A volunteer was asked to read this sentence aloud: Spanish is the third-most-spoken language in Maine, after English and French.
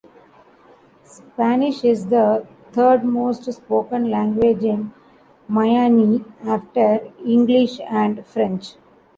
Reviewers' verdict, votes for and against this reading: rejected, 1, 2